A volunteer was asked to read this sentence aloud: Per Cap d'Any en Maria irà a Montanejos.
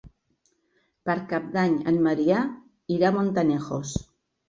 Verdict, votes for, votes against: rejected, 1, 2